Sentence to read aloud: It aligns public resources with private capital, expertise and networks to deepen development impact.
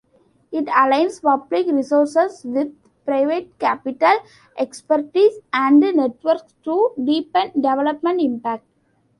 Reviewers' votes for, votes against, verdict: 2, 0, accepted